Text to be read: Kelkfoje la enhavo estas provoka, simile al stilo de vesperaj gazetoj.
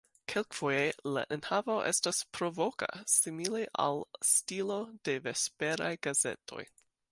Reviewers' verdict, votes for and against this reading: accepted, 2, 0